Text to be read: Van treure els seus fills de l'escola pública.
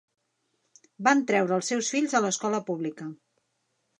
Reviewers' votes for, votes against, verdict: 0, 2, rejected